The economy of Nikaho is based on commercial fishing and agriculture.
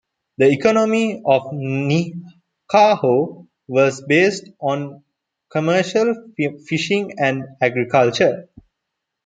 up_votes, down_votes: 1, 2